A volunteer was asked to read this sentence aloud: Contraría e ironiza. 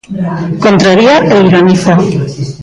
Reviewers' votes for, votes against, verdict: 0, 2, rejected